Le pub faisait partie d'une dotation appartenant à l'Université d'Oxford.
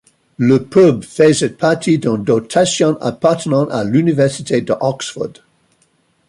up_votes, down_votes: 0, 2